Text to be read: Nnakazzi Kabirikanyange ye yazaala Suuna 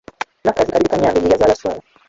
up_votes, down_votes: 0, 2